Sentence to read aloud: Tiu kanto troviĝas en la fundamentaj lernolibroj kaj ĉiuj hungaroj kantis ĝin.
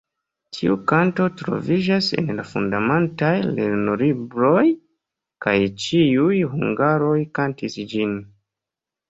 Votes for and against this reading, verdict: 2, 0, accepted